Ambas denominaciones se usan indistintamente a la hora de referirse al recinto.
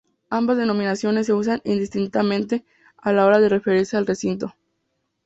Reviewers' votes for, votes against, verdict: 2, 0, accepted